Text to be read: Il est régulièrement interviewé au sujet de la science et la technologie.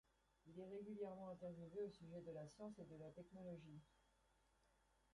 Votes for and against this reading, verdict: 1, 2, rejected